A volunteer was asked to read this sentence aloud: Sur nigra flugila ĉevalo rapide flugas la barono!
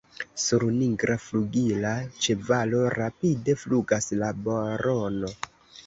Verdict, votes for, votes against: rejected, 1, 2